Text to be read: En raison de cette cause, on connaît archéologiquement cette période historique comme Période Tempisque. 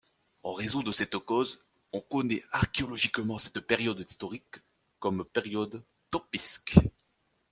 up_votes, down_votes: 2, 0